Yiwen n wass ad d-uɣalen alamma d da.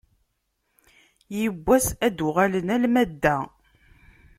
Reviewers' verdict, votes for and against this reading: rejected, 1, 2